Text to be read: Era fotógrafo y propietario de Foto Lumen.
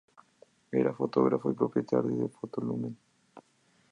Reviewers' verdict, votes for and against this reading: accepted, 2, 0